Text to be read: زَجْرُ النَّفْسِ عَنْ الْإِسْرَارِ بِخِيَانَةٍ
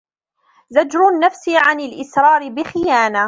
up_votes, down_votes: 1, 2